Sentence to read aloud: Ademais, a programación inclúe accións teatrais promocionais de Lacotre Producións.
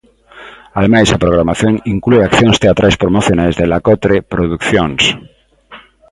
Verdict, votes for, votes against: rejected, 1, 2